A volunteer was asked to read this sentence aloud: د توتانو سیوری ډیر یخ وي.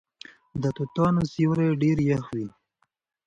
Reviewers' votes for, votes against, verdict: 2, 0, accepted